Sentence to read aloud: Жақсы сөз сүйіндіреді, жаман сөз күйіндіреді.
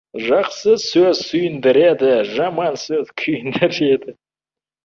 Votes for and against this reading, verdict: 0, 2, rejected